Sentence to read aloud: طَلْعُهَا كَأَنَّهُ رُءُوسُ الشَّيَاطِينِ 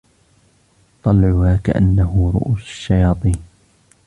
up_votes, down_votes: 1, 2